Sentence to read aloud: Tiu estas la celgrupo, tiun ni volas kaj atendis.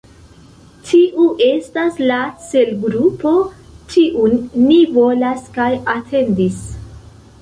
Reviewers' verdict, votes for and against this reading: rejected, 1, 2